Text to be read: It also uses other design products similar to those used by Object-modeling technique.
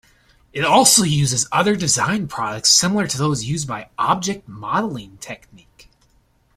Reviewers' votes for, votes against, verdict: 2, 0, accepted